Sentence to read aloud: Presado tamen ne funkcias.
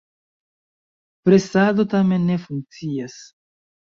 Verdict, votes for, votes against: rejected, 1, 2